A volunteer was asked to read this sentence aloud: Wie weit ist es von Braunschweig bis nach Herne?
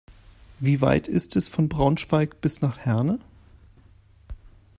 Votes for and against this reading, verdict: 2, 0, accepted